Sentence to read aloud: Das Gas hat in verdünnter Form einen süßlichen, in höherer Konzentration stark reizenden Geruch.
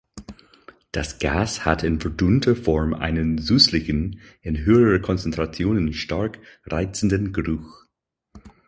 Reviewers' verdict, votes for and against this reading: rejected, 2, 4